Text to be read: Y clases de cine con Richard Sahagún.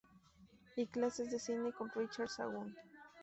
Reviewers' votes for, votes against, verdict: 2, 2, rejected